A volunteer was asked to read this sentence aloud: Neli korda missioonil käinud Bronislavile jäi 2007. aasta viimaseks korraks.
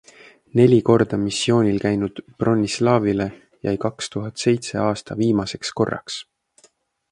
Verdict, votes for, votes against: rejected, 0, 2